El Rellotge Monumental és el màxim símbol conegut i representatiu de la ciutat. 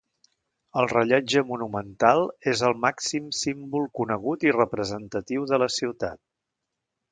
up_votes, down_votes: 2, 0